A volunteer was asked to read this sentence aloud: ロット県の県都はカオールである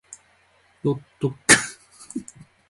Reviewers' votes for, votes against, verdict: 1, 2, rejected